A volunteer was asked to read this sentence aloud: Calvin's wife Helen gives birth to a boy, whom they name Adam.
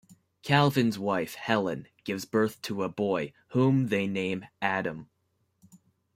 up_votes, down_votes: 2, 0